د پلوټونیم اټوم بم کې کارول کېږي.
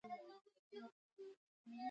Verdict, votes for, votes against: rejected, 0, 2